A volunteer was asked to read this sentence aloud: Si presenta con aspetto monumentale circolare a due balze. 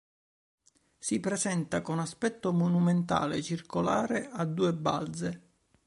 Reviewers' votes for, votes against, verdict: 4, 0, accepted